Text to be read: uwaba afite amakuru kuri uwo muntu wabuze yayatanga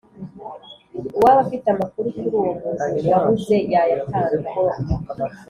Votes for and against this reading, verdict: 2, 0, accepted